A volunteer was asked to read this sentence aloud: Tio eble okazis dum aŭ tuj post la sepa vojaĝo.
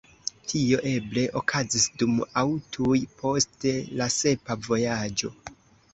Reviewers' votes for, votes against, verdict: 1, 2, rejected